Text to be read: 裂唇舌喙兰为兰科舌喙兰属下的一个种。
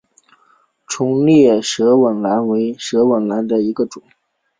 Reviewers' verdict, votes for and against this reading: rejected, 1, 2